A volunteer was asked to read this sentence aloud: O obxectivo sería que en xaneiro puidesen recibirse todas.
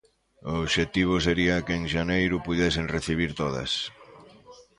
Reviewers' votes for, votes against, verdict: 1, 2, rejected